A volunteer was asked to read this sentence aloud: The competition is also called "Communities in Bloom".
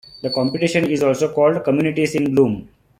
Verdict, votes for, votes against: accepted, 2, 0